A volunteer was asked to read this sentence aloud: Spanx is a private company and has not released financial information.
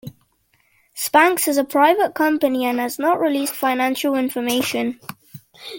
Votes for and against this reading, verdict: 2, 0, accepted